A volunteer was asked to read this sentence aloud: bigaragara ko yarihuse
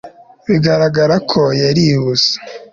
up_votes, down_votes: 2, 0